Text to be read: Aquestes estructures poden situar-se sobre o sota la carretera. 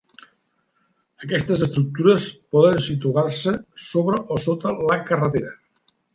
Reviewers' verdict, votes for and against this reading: accepted, 5, 0